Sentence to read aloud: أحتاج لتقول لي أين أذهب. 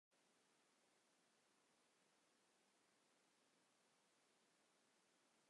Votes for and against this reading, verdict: 0, 2, rejected